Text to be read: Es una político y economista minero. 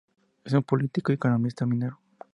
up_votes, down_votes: 2, 2